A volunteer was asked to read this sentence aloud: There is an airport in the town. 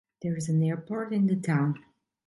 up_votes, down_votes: 2, 0